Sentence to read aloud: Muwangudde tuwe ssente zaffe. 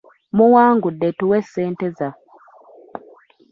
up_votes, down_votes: 2, 1